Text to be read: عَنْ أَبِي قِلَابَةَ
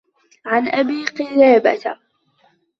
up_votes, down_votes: 2, 0